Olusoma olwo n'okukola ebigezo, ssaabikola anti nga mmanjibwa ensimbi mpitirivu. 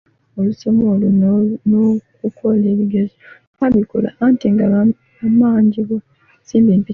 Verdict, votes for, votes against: rejected, 0, 2